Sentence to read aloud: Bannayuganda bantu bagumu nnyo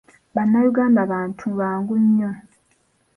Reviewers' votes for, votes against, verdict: 1, 2, rejected